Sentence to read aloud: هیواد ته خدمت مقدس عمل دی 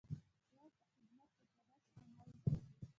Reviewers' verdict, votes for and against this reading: rejected, 0, 2